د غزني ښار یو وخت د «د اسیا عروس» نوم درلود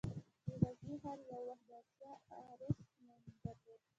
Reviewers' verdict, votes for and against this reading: accepted, 2, 0